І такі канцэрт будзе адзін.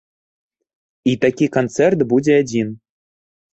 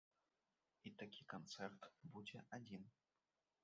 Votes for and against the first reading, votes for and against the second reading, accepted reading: 2, 0, 1, 2, first